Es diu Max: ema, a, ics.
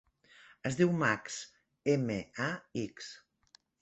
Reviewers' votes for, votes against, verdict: 0, 2, rejected